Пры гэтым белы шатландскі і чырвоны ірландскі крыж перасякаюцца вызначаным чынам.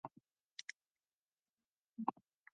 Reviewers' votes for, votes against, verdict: 0, 2, rejected